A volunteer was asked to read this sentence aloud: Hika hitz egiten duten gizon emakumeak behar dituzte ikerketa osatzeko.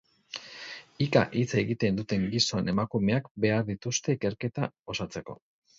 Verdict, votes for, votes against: rejected, 0, 2